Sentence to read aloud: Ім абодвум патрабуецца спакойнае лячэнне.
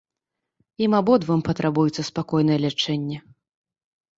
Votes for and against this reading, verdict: 2, 1, accepted